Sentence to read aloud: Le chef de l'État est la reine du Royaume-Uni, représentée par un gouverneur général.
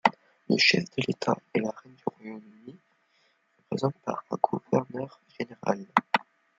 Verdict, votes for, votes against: rejected, 0, 2